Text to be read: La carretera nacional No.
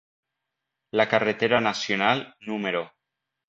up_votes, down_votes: 0, 2